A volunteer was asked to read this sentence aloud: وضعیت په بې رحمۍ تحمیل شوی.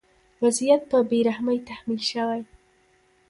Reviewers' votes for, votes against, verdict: 1, 2, rejected